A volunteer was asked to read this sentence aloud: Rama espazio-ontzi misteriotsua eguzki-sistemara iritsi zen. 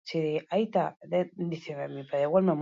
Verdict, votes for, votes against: rejected, 0, 2